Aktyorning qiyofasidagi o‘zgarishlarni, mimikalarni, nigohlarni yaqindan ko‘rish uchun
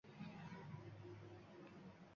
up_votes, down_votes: 1, 2